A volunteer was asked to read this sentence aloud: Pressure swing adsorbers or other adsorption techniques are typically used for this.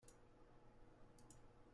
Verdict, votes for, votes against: rejected, 0, 2